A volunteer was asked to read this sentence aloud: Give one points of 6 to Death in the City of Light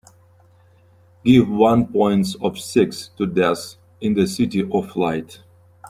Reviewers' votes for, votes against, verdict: 0, 2, rejected